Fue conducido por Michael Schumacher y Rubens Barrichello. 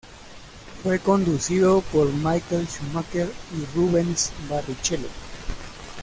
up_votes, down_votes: 0, 2